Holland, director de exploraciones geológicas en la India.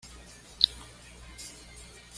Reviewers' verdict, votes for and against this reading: rejected, 1, 2